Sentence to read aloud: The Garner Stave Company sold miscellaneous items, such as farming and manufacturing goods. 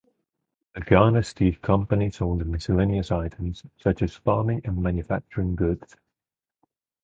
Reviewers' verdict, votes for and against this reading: accepted, 4, 0